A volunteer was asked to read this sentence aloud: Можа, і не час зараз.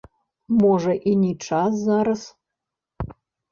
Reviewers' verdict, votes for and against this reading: rejected, 0, 2